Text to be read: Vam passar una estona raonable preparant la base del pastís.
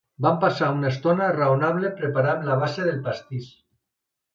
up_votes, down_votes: 2, 0